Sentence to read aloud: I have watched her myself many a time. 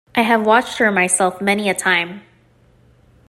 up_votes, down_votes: 2, 0